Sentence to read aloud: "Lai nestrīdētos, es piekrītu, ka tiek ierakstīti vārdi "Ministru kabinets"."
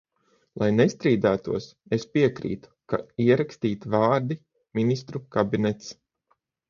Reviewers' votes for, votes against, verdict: 0, 3, rejected